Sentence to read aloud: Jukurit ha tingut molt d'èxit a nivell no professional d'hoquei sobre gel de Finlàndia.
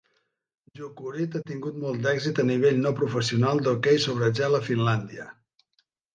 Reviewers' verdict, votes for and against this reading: accepted, 2, 0